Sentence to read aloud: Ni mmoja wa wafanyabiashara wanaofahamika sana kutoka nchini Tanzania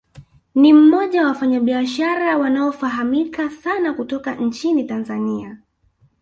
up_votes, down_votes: 1, 2